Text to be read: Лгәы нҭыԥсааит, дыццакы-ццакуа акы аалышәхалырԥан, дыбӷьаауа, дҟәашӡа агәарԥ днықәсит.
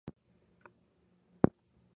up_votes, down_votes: 0, 2